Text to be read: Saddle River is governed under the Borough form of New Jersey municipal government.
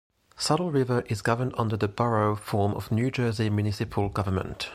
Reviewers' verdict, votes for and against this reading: rejected, 1, 2